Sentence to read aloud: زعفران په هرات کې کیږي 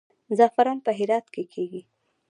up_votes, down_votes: 1, 2